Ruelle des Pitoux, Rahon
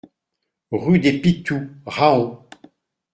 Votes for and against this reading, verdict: 0, 2, rejected